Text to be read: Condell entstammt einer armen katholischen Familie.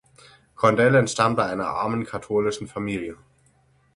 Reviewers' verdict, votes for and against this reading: rejected, 0, 6